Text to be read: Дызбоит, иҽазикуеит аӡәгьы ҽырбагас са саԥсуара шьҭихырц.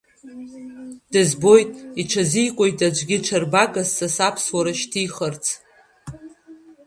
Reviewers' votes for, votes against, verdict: 2, 1, accepted